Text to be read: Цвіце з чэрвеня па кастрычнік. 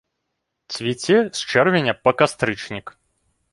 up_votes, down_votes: 2, 0